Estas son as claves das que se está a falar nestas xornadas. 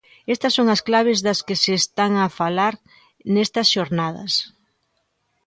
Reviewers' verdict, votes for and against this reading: rejected, 0, 2